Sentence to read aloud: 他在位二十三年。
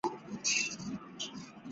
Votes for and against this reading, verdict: 0, 4, rejected